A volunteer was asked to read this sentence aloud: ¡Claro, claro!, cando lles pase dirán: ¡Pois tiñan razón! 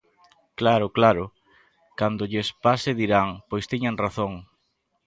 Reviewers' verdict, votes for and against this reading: accepted, 2, 0